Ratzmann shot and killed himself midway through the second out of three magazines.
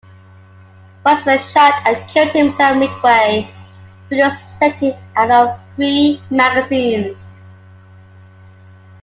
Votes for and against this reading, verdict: 2, 1, accepted